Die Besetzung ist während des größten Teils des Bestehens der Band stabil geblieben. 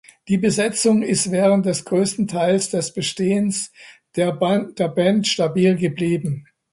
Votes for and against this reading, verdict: 0, 2, rejected